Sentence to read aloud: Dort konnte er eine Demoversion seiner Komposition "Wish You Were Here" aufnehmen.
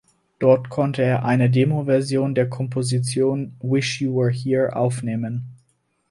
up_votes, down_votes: 0, 4